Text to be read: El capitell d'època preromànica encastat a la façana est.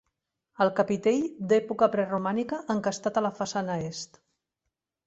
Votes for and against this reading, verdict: 2, 0, accepted